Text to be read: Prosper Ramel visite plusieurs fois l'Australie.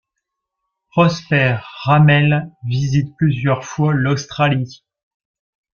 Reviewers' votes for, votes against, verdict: 2, 0, accepted